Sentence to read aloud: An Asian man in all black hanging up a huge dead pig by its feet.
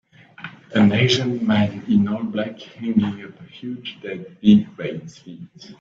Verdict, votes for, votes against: accepted, 2, 1